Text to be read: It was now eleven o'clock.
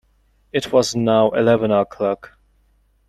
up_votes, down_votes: 2, 0